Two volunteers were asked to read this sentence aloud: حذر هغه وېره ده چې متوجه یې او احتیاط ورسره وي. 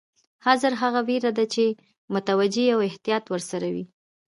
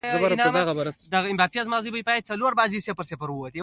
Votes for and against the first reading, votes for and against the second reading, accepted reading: 2, 0, 1, 2, first